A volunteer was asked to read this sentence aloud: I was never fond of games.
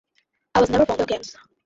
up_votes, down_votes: 0, 2